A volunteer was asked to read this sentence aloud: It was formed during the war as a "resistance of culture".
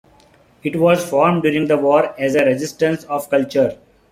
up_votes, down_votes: 2, 0